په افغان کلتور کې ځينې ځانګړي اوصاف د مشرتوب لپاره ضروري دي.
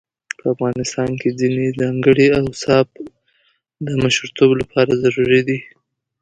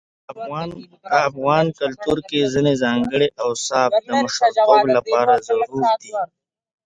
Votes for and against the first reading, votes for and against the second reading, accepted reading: 2, 0, 0, 2, first